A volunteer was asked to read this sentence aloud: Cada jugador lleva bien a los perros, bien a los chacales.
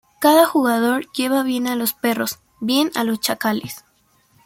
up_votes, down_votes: 2, 0